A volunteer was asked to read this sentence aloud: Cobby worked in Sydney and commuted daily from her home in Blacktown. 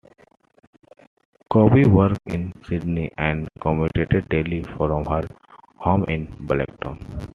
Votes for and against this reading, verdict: 1, 2, rejected